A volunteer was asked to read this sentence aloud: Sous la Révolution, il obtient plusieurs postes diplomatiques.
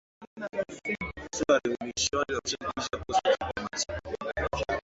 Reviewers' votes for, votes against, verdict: 0, 2, rejected